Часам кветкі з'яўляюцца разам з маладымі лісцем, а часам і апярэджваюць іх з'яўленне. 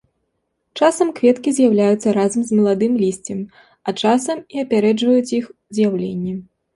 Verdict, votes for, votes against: accepted, 2, 1